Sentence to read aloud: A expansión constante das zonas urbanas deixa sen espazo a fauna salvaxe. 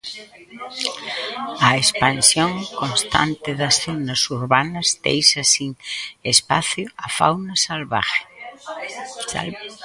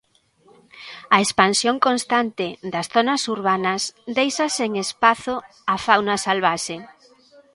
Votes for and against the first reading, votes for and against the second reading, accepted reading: 0, 2, 2, 1, second